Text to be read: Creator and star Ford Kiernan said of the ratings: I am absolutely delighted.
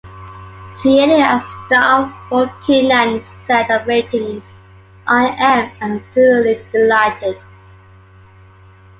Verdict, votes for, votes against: accepted, 2, 0